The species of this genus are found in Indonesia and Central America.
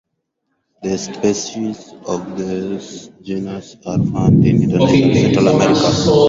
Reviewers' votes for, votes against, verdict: 0, 4, rejected